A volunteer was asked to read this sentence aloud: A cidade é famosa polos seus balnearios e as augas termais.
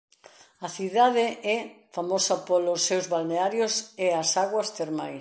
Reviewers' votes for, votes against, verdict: 1, 2, rejected